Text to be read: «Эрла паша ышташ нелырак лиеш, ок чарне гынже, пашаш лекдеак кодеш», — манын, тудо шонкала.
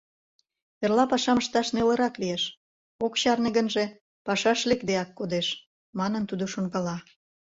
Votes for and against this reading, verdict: 0, 2, rejected